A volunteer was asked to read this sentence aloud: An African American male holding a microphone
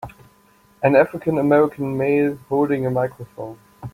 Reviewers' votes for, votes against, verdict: 2, 0, accepted